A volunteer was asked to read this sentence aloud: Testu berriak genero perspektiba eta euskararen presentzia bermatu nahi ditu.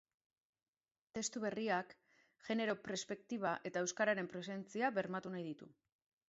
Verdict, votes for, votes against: rejected, 1, 2